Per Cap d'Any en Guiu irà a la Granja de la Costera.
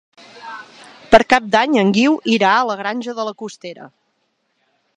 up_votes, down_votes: 3, 1